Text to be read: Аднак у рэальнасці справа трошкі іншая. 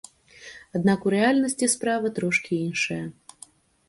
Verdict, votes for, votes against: rejected, 1, 2